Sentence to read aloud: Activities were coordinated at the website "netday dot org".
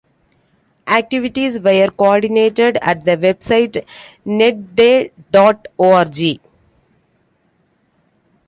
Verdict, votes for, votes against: rejected, 1, 2